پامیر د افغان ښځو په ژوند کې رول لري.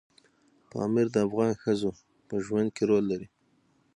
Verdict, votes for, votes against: rejected, 0, 6